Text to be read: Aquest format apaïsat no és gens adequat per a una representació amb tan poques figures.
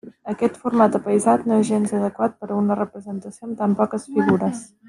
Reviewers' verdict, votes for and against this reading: rejected, 0, 2